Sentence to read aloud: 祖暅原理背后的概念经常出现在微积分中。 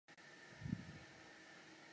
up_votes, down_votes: 0, 3